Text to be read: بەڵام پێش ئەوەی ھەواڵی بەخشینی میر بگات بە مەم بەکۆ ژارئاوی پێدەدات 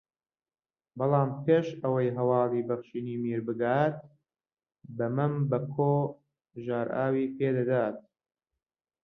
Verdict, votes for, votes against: rejected, 1, 2